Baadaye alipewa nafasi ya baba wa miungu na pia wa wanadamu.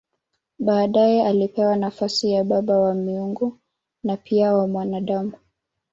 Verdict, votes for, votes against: rejected, 0, 2